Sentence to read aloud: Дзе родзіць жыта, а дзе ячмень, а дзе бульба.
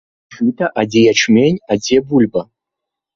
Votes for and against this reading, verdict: 0, 2, rejected